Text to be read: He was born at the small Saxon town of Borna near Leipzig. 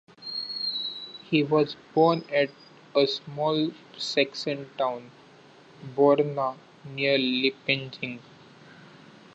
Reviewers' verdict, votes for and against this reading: rejected, 0, 2